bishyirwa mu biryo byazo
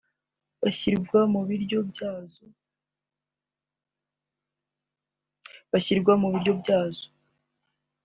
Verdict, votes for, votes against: rejected, 1, 2